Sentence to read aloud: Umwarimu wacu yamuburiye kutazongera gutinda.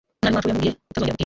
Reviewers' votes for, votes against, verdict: 0, 2, rejected